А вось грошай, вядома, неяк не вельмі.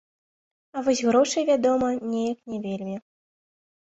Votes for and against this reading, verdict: 3, 0, accepted